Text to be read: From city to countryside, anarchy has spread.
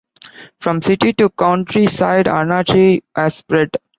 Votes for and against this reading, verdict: 1, 2, rejected